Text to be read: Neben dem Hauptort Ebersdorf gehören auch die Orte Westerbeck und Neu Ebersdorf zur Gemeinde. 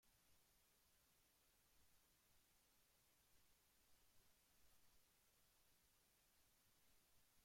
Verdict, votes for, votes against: rejected, 0, 2